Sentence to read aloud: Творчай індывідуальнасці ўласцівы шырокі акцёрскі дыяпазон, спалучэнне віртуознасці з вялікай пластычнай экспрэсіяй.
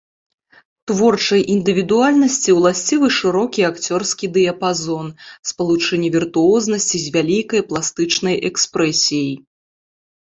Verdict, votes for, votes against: accepted, 2, 0